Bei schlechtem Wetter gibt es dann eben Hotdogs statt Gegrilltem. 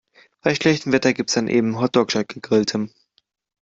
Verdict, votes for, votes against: rejected, 0, 2